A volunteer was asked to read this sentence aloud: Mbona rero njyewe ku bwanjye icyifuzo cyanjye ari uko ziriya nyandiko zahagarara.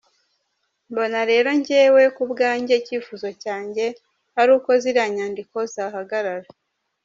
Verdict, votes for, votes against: accepted, 2, 0